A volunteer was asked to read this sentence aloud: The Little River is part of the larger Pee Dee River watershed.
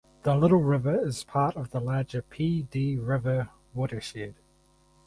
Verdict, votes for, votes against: accepted, 4, 0